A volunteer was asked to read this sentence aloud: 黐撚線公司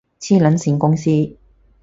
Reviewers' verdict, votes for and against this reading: accepted, 4, 0